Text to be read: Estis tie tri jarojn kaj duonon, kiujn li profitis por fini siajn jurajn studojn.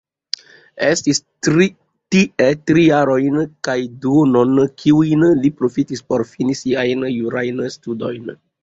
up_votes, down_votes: 2, 1